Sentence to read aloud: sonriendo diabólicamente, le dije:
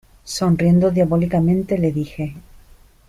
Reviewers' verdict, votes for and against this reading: accepted, 2, 0